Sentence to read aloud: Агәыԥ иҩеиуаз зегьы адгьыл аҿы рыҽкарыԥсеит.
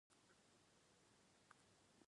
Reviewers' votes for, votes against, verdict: 0, 2, rejected